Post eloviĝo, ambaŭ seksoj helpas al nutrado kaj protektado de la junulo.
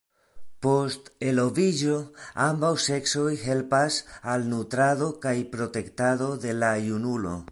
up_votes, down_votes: 2, 0